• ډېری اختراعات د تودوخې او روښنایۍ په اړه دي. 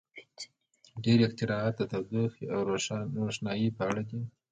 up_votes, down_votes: 2, 1